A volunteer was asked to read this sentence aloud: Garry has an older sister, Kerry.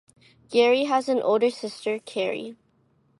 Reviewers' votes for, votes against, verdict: 2, 0, accepted